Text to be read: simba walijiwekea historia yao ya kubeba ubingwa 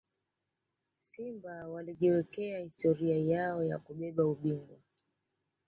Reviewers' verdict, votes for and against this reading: accepted, 2, 1